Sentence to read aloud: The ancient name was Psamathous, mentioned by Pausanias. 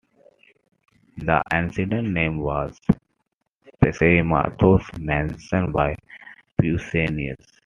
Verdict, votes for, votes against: accepted, 2, 1